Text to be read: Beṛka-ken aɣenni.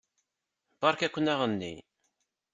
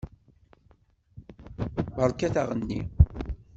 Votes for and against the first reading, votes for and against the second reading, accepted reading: 2, 0, 0, 2, first